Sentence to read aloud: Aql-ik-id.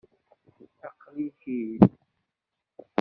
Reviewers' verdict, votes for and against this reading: rejected, 1, 2